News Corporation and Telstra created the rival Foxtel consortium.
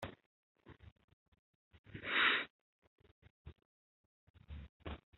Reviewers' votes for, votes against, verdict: 1, 2, rejected